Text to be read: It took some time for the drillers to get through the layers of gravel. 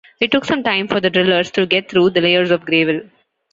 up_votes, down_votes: 0, 2